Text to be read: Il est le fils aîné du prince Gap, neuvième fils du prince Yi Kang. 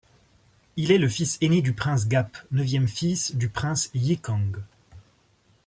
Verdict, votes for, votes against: accepted, 2, 0